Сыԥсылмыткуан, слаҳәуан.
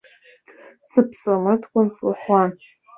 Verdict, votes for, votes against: rejected, 0, 2